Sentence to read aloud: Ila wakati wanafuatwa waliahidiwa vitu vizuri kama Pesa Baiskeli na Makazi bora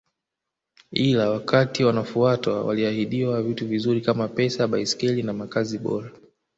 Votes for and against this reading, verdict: 1, 2, rejected